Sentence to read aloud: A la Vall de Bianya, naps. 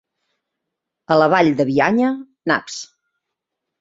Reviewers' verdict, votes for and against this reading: accepted, 2, 1